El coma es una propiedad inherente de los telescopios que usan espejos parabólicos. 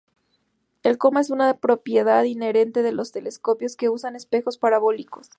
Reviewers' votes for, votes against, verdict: 2, 0, accepted